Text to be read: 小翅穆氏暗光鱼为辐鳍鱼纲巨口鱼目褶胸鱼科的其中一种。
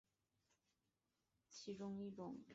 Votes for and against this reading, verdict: 0, 3, rejected